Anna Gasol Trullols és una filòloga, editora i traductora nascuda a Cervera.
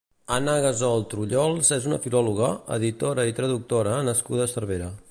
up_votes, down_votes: 2, 0